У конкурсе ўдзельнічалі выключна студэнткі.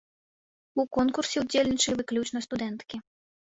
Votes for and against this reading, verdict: 1, 2, rejected